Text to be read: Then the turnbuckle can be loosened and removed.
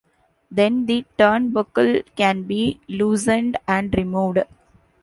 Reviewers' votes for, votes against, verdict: 2, 0, accepted